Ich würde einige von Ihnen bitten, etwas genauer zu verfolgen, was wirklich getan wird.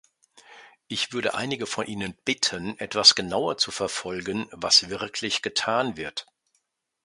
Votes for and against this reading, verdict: 2, 0, accepted